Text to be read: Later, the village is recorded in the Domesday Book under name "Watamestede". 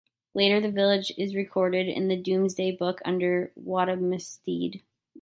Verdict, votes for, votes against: rejected, 0, 2